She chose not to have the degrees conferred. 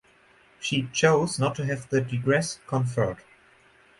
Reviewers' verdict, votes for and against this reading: rejected, 0, 4